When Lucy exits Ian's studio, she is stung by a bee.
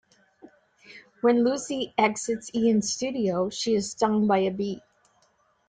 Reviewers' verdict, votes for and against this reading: accepted, 2, 0